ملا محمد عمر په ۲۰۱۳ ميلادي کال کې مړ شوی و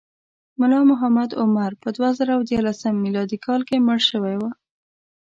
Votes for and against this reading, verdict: 0, 2, rejected